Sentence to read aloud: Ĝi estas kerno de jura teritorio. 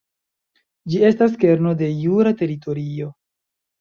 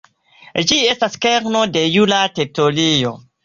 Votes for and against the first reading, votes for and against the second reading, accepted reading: 2, 0, 0, 2, first